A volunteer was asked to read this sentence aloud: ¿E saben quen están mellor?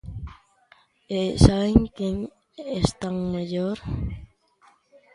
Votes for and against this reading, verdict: 2, 1, accepted